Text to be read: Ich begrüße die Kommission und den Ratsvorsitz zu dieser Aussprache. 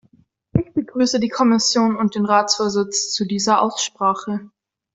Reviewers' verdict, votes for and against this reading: accepted, 2, 0